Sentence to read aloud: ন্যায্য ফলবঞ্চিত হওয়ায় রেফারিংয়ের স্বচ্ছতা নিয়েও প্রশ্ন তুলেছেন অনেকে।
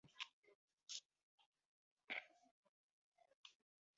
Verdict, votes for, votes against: rejected, 0, 2